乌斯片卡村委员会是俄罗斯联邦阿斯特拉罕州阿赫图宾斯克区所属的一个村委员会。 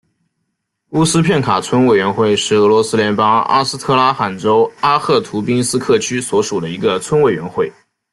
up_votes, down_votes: 2, 0